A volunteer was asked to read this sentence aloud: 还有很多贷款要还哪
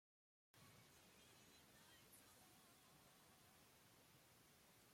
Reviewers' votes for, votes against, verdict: 0, 2, rejected